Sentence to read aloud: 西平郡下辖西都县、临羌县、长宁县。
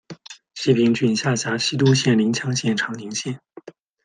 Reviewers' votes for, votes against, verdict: 1, 2, rejected